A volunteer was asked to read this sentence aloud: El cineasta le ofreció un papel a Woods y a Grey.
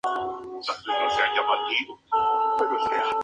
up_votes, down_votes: 0, 2